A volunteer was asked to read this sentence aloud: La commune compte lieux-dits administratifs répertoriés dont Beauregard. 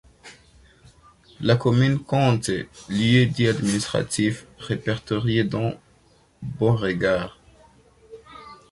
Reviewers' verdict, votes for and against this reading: accepted, 2, 0